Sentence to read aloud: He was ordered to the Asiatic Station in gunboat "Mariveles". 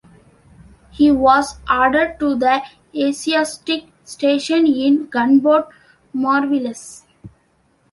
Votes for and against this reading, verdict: 2, 0, accepted